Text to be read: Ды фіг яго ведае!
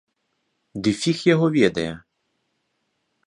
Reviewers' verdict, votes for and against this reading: accepted, 4, 0